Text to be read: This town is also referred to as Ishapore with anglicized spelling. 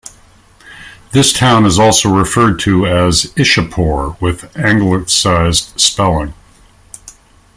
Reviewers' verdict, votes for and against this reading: accepted, 2, 0